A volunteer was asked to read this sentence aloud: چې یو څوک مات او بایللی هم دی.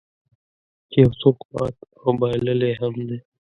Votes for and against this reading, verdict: 1, 2, rejected